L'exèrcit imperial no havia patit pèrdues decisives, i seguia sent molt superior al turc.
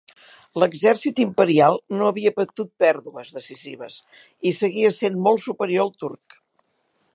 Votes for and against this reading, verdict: 2, 3, rejected